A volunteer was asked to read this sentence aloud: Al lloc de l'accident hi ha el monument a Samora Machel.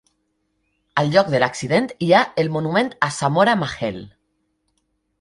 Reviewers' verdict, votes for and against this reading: accepted, 2, 0